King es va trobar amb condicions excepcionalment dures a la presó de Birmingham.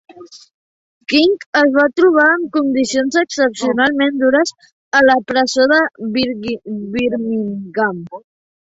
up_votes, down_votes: 0, 5